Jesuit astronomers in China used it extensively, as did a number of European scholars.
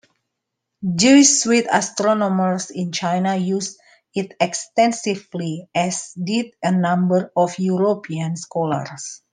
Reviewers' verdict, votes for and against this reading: accepted, 2, 0